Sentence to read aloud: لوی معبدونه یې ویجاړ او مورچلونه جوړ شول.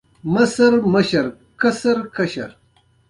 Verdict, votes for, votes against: rejected, 0, 2